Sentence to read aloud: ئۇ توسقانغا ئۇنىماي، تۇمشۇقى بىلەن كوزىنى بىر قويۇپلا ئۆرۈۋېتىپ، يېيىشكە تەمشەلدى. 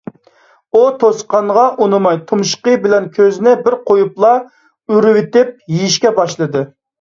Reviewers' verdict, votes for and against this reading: rejected, 1, 2